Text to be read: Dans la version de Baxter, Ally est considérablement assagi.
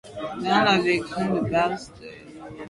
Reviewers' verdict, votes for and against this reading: rejected, 0, 2